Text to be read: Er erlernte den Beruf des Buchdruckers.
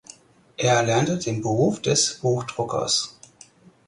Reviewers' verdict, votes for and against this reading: accepted, 4, 0